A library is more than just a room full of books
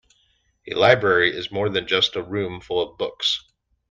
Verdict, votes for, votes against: accepted, 2, 0